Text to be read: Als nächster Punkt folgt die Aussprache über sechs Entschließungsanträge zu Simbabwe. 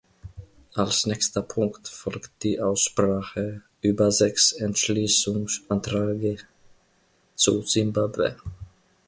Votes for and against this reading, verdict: 0, 2, rejected